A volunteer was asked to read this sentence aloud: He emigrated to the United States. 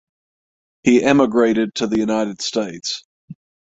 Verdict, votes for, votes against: rejected, 3, 3